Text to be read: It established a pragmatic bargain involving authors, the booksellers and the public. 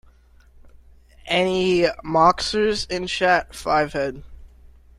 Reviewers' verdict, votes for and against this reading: rejected, 1, 2